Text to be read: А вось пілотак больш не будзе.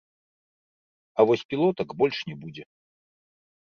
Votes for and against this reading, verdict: 0, 2, rejected